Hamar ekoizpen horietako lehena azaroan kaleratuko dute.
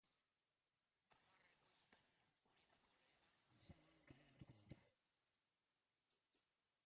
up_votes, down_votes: 0, 2